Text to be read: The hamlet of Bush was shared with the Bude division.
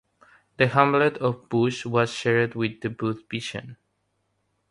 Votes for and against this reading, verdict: 3, 3, rejected